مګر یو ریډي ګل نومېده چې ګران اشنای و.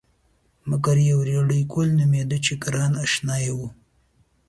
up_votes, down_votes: 2, 0